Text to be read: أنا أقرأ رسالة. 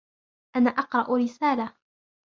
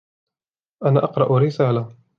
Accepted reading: second